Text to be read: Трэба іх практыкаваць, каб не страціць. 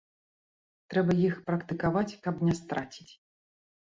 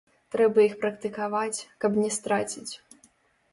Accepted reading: first